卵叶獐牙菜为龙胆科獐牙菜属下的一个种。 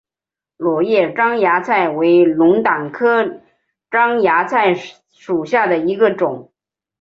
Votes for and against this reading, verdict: 2, 0, accepted